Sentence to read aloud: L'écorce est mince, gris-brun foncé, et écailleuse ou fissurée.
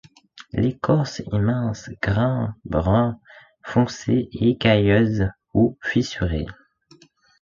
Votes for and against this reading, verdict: 1, 2, rejected